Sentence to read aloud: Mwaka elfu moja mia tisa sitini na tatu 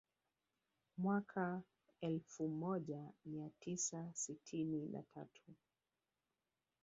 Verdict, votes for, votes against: accepted, 3, 1